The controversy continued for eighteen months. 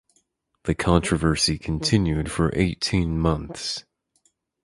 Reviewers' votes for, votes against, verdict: 4, 0, accepted